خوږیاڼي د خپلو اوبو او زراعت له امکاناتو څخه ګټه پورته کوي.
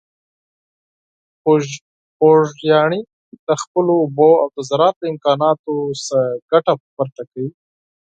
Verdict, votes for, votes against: rejected, 4, 6